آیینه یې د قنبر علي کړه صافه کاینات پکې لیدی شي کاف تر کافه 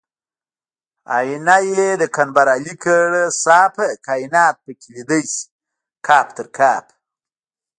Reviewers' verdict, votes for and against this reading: rejected, 0, 2